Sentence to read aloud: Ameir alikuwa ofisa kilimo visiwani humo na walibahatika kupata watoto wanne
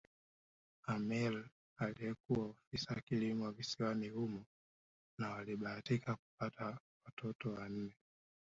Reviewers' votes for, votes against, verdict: 1, 2, rejected